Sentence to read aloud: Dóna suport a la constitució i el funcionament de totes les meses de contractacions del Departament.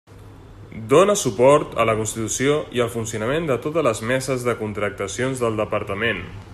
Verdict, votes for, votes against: accepted, 2, 0